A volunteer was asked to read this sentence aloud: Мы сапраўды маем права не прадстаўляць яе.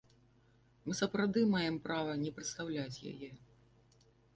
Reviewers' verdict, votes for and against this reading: rejected, 1, 2